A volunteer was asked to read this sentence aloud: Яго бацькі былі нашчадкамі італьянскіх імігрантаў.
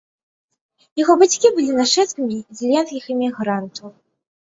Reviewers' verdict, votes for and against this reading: rejected, 0, 2